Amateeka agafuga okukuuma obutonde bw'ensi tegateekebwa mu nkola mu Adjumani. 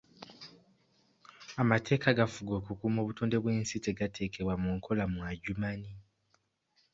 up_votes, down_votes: 2, 0